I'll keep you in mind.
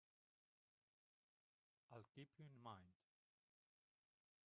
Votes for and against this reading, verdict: 2, 4, rejected